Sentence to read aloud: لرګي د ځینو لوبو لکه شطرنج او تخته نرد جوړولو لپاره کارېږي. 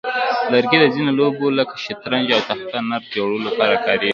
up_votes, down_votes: 2, 0